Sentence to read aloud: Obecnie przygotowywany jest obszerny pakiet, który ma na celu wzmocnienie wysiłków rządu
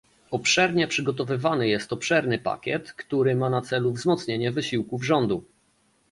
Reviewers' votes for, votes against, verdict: 0, 2, rejected